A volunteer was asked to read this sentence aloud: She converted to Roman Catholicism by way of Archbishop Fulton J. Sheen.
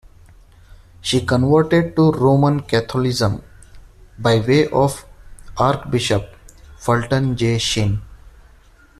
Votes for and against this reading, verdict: 0, 2, rejected